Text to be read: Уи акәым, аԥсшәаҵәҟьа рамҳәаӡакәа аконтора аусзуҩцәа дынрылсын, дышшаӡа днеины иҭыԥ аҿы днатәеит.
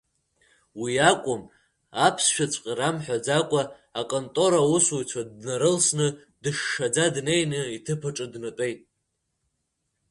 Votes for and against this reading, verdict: 2, 1, accepted